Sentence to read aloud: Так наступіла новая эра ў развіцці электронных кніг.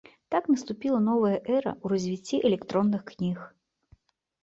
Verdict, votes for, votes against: accepted, 2, 0